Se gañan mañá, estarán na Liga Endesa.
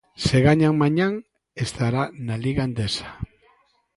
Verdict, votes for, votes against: rejected, 0, 3